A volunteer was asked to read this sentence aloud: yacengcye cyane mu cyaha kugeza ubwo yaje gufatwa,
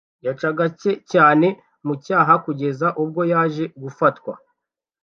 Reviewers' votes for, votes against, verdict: 1, 2, rejected